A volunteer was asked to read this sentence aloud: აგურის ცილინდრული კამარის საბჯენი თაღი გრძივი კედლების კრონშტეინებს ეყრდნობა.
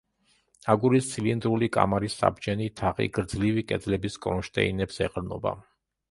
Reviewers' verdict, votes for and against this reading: rejected, 0, 2